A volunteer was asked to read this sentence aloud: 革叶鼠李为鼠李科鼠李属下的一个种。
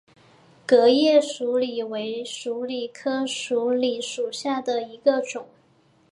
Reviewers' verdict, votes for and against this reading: accepted, 6, 0